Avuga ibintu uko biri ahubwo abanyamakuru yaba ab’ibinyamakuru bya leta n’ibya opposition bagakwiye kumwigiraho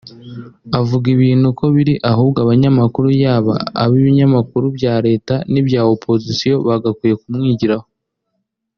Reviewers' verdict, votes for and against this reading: accepted, 2, 0